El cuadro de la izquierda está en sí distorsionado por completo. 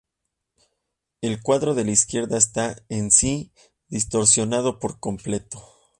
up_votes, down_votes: 2, 0